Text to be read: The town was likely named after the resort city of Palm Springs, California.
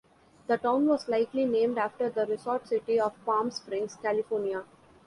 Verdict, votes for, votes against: accepted, 2, 0